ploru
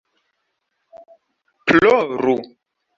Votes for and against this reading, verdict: 0, 2, rejected